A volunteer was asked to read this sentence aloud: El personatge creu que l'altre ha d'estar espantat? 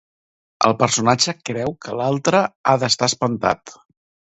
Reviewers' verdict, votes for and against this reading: rejected, 1, 2